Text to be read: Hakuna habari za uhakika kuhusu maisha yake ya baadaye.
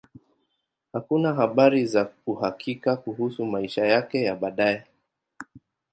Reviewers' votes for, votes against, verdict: 2, 0, accepted